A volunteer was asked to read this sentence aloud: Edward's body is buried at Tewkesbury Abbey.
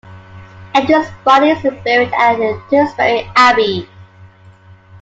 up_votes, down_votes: 0, 2